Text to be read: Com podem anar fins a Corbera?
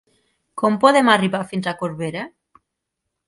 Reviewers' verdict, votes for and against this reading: rejected, 1, 3